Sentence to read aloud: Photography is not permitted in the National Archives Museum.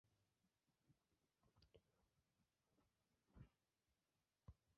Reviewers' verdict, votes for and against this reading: rejected, 0, 2